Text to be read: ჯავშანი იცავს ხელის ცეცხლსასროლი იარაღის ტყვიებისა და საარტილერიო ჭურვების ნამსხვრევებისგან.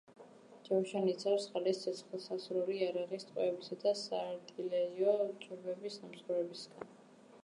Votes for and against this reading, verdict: 0, 2, rejected